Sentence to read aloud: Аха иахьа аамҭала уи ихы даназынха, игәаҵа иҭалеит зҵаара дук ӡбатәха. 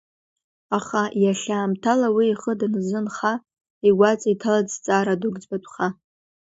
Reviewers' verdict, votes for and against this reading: accepted, 3, 1